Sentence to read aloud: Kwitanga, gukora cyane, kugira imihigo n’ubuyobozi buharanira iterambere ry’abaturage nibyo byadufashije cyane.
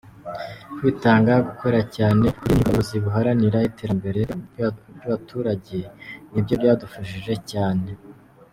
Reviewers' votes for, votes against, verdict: 0, 2, rejected